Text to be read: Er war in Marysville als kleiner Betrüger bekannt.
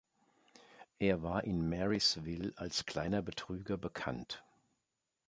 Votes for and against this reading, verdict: 2, 0, accepted